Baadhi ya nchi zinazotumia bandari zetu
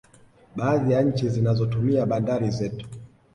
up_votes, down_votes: 1, 2